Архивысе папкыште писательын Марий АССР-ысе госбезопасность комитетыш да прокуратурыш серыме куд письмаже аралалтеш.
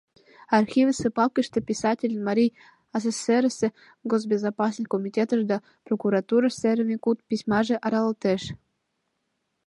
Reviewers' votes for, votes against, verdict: 2, 1, accepted